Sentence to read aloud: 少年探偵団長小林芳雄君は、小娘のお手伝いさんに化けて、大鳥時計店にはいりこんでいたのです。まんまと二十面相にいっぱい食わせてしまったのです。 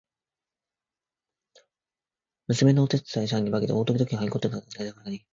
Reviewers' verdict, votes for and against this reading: rejected, 0, 2